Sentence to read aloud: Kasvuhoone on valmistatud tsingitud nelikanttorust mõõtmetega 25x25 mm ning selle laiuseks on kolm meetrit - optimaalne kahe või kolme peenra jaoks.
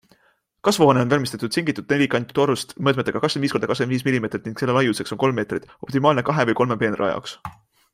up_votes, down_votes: 0, 2